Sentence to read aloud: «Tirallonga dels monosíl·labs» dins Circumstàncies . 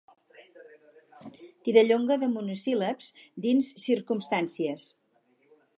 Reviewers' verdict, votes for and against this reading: rejected, 0, 2